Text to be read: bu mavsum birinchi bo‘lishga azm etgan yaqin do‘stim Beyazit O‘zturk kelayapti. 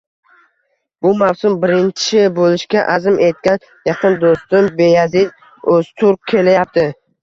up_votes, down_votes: 1, 2